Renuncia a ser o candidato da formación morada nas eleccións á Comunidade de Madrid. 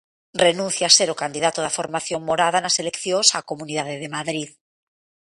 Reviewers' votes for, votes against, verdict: 2, 0, accepted